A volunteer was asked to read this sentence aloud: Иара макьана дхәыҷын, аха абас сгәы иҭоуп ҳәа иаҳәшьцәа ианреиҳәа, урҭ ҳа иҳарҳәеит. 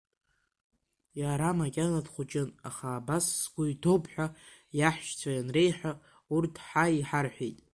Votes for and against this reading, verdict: 2, 0, accepted